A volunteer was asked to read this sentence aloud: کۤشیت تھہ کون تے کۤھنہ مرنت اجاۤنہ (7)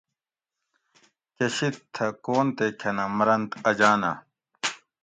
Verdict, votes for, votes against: rejected, 0, 2